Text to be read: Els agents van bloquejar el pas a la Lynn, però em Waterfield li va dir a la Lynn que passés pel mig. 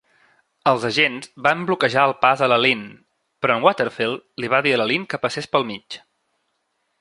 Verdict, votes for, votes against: accepted, 2, 0